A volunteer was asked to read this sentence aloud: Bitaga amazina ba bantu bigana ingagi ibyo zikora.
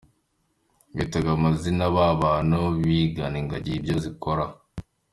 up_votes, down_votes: 2, 0